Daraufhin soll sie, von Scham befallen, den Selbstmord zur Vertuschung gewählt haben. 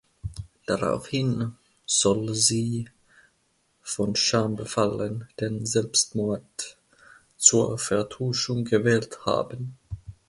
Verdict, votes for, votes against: accepted, 2, 0